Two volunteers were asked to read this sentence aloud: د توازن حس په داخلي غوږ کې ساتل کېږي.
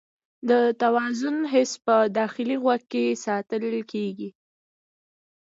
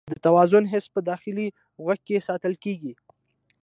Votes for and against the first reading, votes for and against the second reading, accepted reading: 1, 2, 2, 0, second